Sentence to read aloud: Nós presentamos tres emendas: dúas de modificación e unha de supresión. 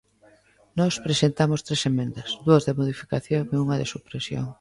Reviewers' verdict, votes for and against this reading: accepted, 2, 0